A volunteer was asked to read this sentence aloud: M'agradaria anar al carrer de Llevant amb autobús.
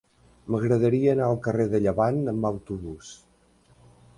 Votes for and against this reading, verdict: 4, 0, accepted